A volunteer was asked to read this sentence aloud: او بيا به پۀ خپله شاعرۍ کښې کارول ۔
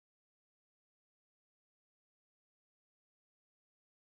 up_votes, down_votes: 1, 2